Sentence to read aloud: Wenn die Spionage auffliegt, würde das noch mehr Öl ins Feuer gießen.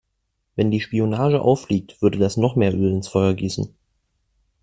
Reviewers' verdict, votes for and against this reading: accepted, 2, 0